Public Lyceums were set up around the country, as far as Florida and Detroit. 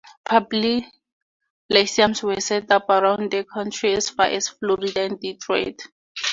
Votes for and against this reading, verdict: 2, 0, accepted